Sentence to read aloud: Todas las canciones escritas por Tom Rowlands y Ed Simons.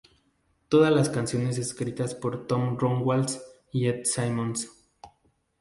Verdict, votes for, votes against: rejected, 2, 2